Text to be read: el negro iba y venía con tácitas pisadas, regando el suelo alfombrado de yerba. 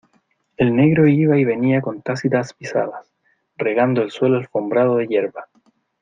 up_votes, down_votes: 2, 1